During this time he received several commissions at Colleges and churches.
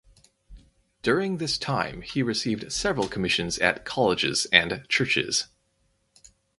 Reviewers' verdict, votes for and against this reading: accepted, 4, 0